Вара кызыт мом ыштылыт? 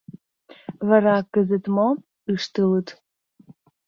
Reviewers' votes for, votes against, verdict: 0, 2, rejected